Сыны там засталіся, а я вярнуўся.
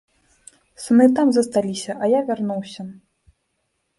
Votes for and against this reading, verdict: 2, 0, accepted